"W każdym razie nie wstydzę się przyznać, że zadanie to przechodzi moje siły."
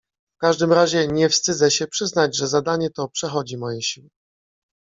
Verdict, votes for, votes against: accepted, 2, 0